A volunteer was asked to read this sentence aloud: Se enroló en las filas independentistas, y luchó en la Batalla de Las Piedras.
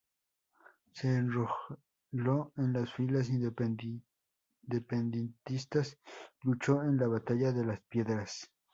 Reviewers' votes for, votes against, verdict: 0, 4, rejected